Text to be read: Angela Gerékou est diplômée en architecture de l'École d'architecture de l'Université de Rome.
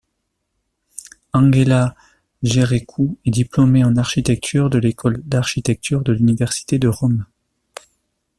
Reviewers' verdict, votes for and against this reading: accepted, 2, 0